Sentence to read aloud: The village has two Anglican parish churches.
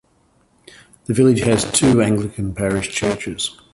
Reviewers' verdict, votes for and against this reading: accepted, 2, 1